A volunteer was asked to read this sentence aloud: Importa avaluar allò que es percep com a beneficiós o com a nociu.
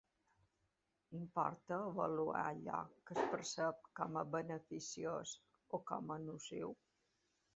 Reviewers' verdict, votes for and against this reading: rejected, 1, 2